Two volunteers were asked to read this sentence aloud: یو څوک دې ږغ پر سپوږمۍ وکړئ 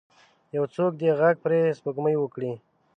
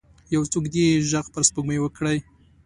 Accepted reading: second